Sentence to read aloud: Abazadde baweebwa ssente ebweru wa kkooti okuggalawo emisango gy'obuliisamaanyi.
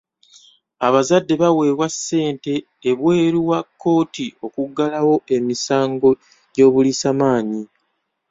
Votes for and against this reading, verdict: 2, 1, accepted